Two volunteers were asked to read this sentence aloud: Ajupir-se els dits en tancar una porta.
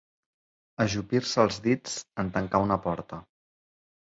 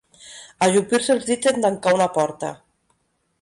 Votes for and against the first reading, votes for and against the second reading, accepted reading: 3, 1, 0, 2, first